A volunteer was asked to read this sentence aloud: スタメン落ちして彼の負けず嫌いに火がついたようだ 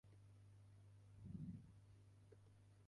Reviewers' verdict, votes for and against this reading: rejected, 2, 9